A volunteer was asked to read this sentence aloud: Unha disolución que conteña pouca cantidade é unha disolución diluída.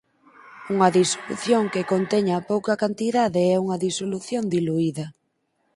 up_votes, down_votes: 2, 4